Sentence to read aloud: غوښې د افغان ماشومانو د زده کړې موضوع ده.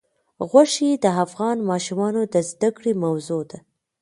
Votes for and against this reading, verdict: 2, 1, accepted